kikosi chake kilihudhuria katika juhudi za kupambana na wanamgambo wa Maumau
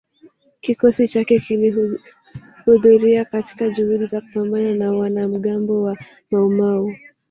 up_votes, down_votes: 1, 2